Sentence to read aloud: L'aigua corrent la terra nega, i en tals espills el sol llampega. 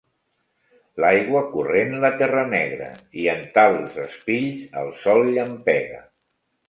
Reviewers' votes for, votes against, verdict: 0, 2, rejected